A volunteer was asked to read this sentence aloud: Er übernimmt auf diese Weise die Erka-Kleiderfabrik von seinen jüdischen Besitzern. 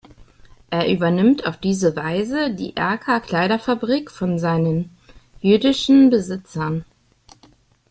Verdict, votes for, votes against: accepted, 2, 0